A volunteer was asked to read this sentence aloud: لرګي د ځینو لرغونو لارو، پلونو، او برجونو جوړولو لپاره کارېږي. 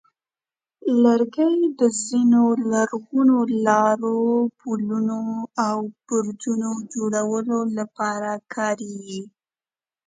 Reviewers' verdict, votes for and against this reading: accepted, 2, 0